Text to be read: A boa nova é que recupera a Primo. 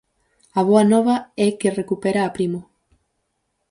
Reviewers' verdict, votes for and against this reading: accepted, 4, 0